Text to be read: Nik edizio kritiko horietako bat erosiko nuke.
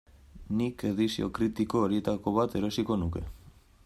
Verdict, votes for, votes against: accepted, 2, 0